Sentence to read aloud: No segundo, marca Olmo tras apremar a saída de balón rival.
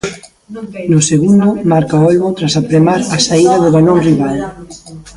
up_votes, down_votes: 1, 2